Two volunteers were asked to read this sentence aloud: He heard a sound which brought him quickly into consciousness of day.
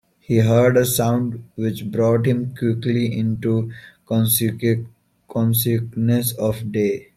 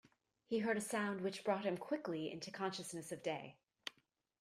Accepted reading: second